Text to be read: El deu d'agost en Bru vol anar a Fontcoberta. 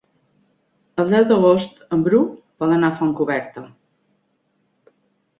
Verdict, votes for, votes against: accepted, 3, 0